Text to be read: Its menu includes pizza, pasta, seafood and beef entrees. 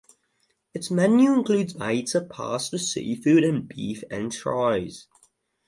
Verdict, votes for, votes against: rejected, 0, 2